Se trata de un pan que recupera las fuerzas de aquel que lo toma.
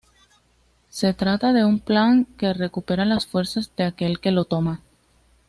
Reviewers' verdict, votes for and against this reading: accepted, 2, 0